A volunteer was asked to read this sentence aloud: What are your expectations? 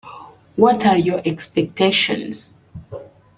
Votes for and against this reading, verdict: 2, 0, accepted